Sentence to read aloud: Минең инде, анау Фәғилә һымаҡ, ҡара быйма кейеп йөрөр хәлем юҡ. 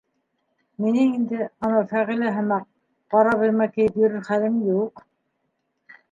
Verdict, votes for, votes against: accepted, 2, 1